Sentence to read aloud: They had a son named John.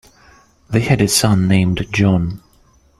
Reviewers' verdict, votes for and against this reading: accepted, 2, 0